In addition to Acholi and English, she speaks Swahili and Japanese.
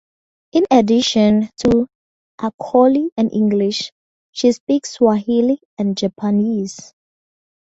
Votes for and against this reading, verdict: 4, 0, accepted